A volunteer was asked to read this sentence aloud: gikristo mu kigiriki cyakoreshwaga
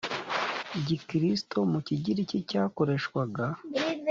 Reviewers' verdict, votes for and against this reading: accepted, 2, 0